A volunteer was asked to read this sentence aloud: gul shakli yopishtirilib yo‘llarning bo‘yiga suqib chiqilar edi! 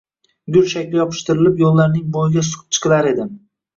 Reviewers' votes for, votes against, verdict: 0, 2, rejected